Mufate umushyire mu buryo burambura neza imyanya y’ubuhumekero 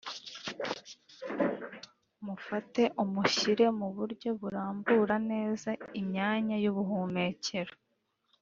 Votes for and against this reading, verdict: 3, 0, accepted